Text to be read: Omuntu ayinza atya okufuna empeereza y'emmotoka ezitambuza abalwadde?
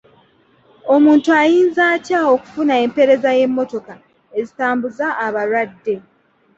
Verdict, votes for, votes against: accepted, 2, 0